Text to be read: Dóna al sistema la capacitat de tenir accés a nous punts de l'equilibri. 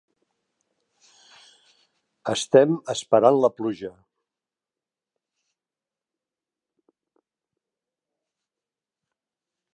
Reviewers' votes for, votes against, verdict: 0, 2, rejected